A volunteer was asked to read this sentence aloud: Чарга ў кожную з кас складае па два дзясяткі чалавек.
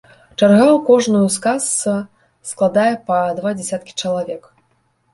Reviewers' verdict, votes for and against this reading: accepted, 2, 0